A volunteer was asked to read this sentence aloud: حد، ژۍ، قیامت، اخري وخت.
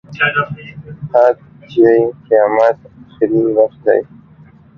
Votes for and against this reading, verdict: 0, 2, rejected